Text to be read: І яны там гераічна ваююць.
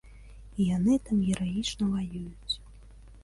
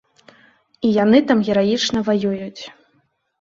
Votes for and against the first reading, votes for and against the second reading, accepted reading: 1, 2, 2, 0, second